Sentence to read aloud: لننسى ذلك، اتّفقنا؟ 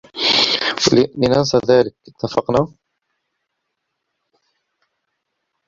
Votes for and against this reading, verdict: 1, 2, rejected